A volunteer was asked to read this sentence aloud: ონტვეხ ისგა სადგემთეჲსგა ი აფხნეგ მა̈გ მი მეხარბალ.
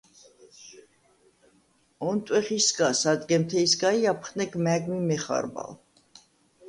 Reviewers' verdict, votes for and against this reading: accepted, 2, 0